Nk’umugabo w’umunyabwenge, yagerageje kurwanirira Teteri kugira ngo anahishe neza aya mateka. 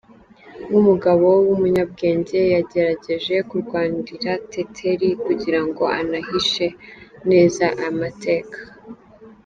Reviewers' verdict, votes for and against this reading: accepted, 2, 1